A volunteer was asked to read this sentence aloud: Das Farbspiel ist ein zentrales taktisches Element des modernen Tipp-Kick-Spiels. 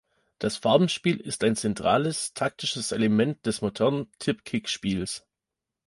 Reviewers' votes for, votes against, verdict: 0, 2, rejected